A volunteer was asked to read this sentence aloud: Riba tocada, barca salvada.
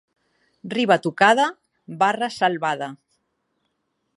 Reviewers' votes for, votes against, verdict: 1, 2, rejected